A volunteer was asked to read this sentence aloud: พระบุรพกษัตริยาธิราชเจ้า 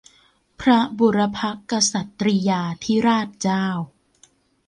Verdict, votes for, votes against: accepted, 2, 0